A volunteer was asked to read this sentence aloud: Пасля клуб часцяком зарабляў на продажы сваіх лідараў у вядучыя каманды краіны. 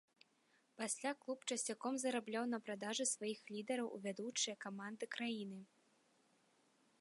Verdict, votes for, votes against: rejected, 1, 2